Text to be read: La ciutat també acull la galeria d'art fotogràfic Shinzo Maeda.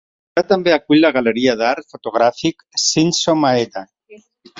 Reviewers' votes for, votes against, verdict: 0, 2, rejected